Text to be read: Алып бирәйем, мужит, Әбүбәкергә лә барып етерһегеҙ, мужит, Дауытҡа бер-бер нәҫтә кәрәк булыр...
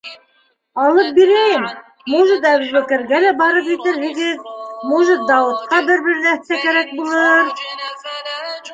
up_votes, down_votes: 0, 2